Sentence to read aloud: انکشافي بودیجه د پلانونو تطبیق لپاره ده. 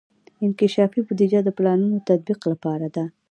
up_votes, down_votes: 2, 0